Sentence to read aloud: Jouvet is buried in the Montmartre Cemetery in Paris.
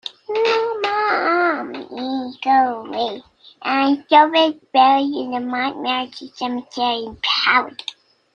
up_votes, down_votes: 0, 2